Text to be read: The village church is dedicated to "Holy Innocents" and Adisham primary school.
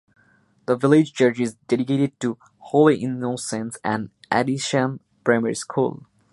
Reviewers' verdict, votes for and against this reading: accepted, 2, 0